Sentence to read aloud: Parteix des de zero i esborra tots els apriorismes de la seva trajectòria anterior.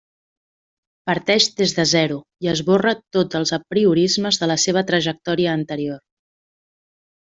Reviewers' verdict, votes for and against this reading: accepted, 3, 0